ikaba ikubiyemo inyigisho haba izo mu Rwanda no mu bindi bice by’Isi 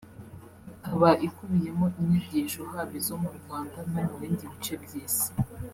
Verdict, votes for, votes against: rejected, 1, 2